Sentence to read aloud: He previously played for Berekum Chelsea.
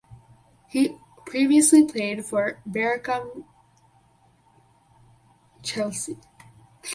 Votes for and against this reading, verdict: 2, 2, rejected